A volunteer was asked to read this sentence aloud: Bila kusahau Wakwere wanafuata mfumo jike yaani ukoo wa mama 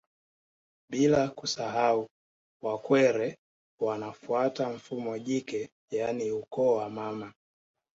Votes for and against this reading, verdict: 2, 0, accepted